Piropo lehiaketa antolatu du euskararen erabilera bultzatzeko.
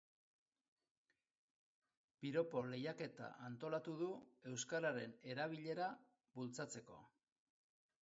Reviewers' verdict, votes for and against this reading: accepted, 2, 1